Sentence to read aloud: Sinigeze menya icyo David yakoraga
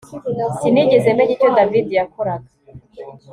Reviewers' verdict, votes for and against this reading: accepted, 2, 0